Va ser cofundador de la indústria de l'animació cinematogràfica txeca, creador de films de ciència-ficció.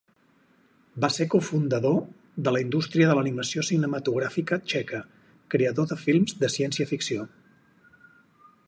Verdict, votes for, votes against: accepted, 4, 0